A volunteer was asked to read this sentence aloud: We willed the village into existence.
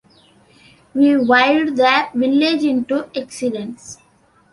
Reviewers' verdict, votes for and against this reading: rejected, 1, 2